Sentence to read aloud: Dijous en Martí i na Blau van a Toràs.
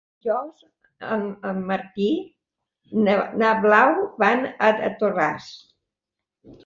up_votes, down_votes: 0, 2